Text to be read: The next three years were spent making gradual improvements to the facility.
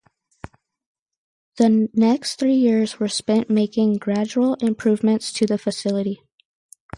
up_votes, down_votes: 2, 2